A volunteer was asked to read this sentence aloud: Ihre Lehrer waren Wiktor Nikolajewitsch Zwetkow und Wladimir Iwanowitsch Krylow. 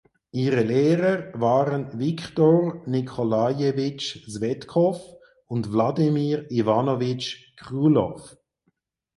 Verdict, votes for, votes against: accepted, 4, 0